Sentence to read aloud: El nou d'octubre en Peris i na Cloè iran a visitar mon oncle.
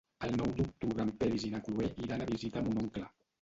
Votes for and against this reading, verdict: 1, 2, rejected